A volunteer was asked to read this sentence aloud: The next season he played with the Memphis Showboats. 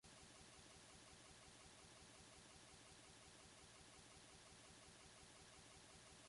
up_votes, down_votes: 0, 2